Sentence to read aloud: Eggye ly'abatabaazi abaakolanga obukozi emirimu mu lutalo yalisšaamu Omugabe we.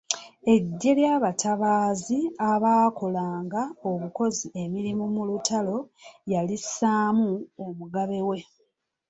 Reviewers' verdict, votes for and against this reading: accepted, 2, 0